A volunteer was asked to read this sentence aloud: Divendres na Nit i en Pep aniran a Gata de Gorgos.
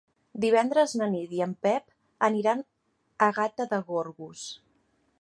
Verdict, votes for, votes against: accepted, 2, 0